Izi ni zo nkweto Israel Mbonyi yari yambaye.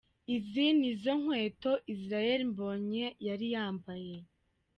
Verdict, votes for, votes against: accepted, 2, 0